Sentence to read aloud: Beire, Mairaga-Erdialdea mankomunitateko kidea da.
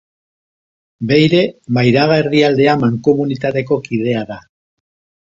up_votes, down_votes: 2, 0